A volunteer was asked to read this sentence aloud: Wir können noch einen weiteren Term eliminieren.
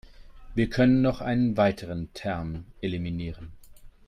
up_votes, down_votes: 2, 0